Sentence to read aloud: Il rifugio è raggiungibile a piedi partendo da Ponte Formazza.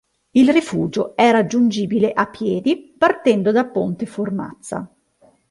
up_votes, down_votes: 2, 0